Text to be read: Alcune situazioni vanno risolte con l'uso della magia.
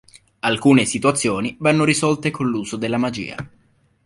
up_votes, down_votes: 2, 0